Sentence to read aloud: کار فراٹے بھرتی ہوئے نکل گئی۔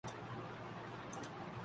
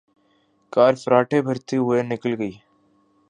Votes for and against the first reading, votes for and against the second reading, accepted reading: 1, 6, 2, 0, second